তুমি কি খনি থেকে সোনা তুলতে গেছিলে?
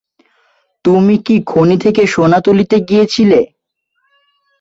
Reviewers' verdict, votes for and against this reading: rejected, 0, 2